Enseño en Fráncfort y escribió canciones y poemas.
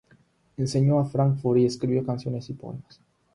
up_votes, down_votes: 0, 6